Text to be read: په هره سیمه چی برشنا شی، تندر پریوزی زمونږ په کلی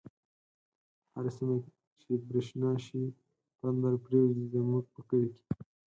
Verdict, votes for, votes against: accepted, 4, 0